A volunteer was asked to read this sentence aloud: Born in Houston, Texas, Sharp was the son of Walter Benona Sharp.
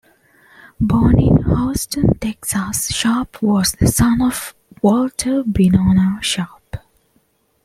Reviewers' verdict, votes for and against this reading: rejected, 1, 2